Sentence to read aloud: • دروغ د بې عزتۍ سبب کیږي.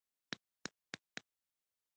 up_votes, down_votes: 2, 3